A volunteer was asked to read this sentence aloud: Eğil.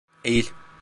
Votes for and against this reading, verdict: 2, 0, accepted